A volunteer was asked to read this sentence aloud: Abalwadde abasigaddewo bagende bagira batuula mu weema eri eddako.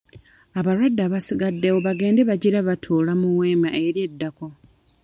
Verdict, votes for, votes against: rejected, 1, 2